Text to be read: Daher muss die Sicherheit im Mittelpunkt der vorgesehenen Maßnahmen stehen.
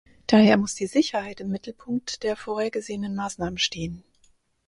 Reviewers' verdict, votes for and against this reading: rejected, 0, 4